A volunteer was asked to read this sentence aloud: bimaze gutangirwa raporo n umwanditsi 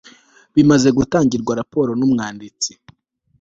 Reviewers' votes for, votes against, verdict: 2, 0, accepted